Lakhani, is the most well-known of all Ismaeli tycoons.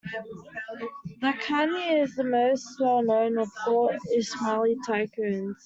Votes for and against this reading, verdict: 2, 0, accepted